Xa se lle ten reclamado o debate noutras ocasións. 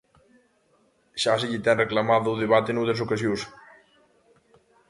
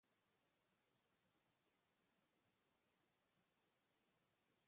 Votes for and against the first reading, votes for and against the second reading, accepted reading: 2, 0, 0, 2, first